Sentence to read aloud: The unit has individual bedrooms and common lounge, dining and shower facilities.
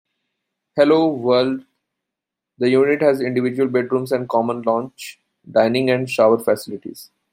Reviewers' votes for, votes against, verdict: 1, 2, rejected